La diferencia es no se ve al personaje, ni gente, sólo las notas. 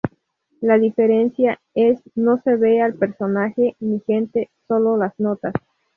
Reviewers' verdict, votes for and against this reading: accepted, 2, 0